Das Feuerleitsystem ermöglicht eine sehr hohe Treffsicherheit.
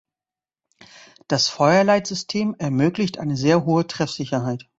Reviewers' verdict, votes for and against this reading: accepted, 2, 0